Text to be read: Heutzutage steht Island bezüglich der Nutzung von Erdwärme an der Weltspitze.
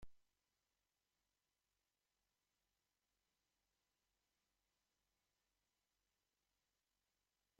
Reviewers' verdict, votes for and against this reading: rejected, 0, 2